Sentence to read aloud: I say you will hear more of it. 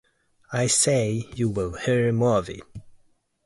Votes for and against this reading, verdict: 3, 0, accepted